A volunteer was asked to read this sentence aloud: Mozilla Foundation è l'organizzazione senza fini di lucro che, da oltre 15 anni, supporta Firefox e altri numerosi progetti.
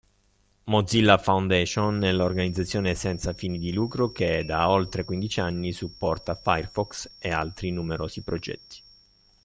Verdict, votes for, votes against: rejected, 0, 2